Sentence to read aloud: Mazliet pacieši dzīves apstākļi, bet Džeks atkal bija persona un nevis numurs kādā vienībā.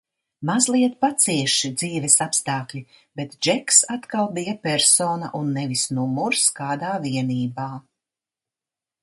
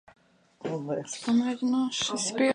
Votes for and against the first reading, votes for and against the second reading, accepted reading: 2, 0, 0, 2, first